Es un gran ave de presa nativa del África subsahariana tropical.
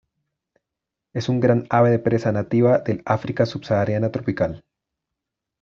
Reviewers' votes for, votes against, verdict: 2, 0, accepted